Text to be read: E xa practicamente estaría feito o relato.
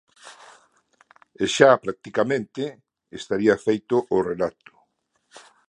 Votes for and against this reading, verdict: 2, 0, accepted